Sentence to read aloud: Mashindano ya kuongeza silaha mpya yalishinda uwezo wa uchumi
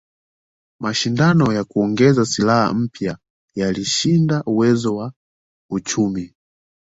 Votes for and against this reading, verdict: 2, 0, accepted